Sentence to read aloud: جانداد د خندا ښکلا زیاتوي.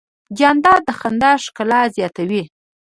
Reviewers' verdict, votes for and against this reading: accepted, 2, 0